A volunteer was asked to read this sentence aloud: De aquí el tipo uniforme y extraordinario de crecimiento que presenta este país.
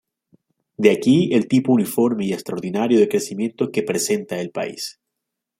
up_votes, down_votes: 0, 2